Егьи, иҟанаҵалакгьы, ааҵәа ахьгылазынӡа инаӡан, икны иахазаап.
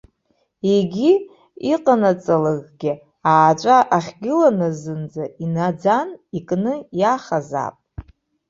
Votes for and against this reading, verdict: 1, 2, rejected